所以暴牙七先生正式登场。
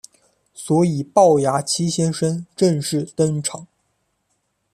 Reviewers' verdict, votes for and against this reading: accepted, 2, 0